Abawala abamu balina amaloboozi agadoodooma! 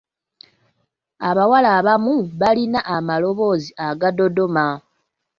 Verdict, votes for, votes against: accepted, 2, 1